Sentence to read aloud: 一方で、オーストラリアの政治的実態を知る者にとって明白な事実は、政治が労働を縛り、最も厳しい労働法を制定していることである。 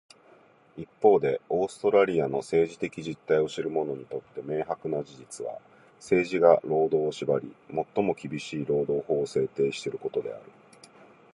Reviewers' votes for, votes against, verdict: 0, 2, rejected